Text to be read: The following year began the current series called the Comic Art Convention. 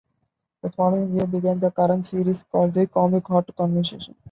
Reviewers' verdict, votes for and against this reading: rejected, 0, 2